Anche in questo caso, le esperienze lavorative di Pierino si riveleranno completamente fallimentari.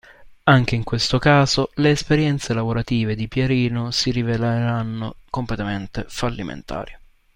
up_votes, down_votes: 1, 2